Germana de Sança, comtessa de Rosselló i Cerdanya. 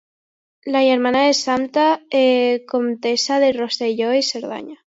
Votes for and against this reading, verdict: 0, 2, rejected